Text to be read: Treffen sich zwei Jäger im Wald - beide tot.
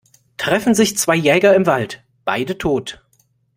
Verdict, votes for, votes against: accepted, 2, 0